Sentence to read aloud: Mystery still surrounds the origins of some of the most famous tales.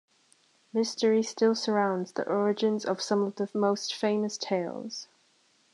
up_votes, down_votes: 2, 0